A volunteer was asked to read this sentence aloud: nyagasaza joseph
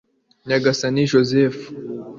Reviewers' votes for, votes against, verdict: 1, 2, rejected